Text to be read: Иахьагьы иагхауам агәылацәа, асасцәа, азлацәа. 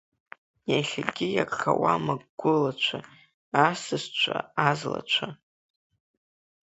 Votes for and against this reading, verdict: 5, 2, accepted